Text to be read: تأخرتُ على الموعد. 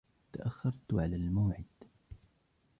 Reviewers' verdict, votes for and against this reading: rejected, 0, 2